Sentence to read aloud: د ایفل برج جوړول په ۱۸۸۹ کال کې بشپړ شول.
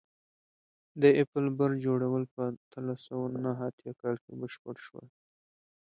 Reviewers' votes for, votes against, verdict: 0, 2, rejected